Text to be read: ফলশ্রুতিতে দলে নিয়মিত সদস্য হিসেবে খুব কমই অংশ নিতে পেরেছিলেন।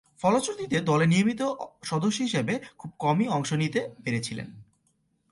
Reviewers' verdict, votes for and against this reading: accepted, 3, 1